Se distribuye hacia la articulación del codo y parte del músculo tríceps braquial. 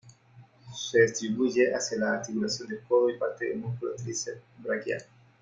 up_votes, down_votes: 3, 0